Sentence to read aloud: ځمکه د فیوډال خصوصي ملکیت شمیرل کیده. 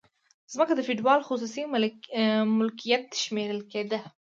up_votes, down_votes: 2, 0